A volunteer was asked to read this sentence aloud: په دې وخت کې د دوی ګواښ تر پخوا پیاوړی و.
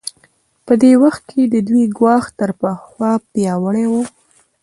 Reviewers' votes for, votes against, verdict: 0, 2, rejected